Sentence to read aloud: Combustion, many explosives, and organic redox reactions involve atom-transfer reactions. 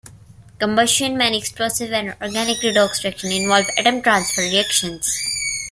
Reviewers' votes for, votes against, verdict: 1, 2, rejected